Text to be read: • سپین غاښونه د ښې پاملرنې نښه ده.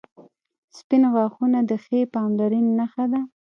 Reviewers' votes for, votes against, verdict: 2, 0, accepted